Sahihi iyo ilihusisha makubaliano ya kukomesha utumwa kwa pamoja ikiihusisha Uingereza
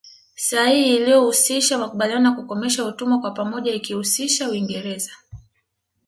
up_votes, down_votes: 1, 2